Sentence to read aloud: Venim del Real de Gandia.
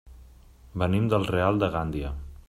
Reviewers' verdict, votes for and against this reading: rejected, 0, 2